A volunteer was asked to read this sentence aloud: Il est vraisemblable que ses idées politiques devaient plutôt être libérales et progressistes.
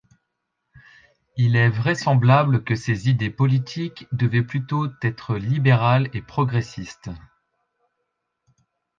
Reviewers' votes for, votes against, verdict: 1, 2, rejected